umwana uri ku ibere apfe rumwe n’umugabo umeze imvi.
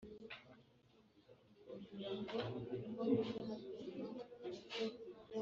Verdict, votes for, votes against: rejected, 0, 2